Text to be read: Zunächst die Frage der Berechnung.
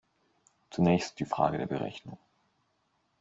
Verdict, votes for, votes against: accepted, 2, 0